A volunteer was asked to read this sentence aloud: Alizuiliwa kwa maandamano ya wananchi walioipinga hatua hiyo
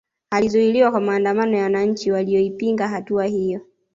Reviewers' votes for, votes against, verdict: 2, 1, accepted